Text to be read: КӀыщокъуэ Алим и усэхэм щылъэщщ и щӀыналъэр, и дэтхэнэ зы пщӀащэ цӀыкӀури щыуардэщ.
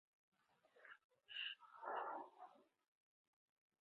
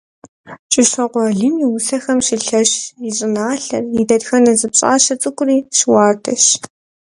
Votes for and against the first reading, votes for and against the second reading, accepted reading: 0, 4, 2, 0, second